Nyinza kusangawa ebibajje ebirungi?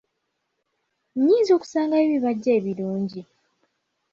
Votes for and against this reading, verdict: 2, 1, accepted